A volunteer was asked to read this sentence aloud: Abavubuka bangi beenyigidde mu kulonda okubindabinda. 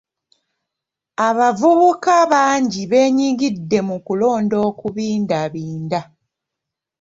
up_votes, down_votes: 2, 0